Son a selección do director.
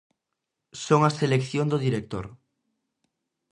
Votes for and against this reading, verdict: 2, 0, accepted